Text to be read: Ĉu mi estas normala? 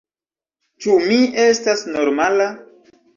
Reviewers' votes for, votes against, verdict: 1, 2, rejected